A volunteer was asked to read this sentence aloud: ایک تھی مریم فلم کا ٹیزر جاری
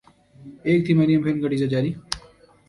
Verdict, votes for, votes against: rejected, 0, 3